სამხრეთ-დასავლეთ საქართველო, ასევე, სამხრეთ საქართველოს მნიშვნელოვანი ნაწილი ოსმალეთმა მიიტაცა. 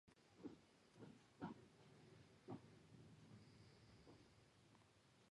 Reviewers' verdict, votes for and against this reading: rejected, 1, 2